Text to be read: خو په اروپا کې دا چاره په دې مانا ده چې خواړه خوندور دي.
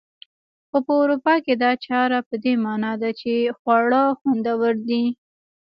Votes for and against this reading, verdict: 0, 2, rejected